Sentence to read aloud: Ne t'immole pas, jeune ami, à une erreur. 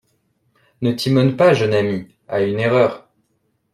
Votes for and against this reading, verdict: 1, 2, rejected